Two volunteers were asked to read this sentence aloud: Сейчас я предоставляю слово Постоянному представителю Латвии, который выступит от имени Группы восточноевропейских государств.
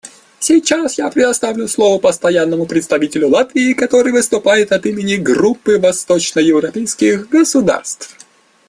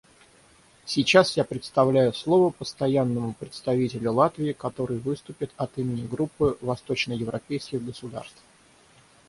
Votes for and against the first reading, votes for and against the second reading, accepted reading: 1, 2, 6, 0, second